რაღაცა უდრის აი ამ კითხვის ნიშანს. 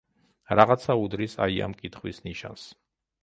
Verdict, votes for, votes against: accepted, 2, 0